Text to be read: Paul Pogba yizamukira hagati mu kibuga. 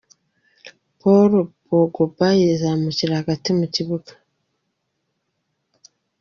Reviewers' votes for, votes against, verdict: 2, 0, accepted